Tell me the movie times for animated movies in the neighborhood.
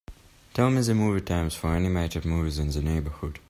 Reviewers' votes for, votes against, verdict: 2, 1, accepted